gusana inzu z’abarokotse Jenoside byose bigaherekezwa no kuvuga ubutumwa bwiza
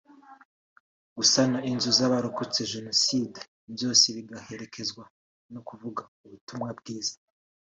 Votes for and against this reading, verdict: 2, 0, accepted